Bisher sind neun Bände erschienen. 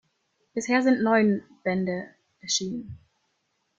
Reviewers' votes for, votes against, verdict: 1, 2, rejected